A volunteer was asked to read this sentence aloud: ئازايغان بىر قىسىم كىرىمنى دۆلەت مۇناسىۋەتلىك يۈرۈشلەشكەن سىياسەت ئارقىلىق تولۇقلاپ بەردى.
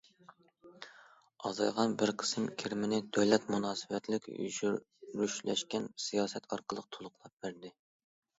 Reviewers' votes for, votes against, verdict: 0, 2, rejected